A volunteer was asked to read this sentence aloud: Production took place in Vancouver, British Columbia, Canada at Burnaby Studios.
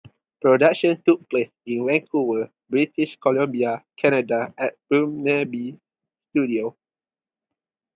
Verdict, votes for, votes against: accepted, 2, 0